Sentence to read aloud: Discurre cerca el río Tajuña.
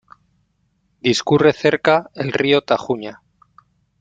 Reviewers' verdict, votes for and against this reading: accepted, 2, 0